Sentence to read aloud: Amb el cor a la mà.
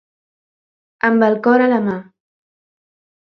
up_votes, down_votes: 2, 0